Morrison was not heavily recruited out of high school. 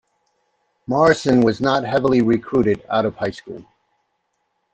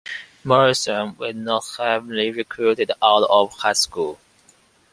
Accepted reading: first